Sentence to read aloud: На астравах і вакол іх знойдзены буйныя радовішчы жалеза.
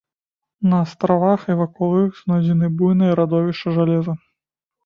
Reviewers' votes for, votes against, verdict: 1, 2, rejected